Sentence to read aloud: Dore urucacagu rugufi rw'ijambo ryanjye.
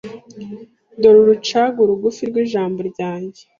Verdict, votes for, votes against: rejected, 1, 2